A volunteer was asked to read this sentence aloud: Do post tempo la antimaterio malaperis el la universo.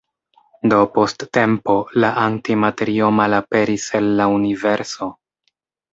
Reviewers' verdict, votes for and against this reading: accepted, 3, 0